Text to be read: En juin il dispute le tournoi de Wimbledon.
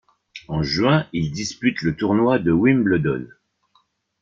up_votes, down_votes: 0, 2